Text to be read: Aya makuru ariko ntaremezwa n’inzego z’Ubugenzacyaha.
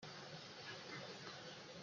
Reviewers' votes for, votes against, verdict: 0, 2, rejected